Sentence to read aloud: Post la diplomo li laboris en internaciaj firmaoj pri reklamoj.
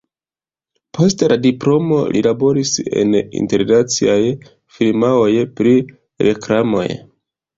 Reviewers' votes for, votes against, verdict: 2, 0, accepted